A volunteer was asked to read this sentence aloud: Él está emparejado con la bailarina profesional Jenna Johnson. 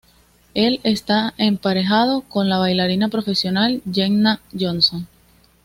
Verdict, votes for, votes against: accepted, 2, 0